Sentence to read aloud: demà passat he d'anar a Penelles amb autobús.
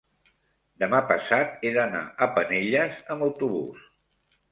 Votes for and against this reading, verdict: 3, 0, accepted